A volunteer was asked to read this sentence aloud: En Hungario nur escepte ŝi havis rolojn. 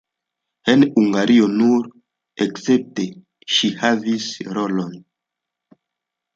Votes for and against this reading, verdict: 0, 3, rejected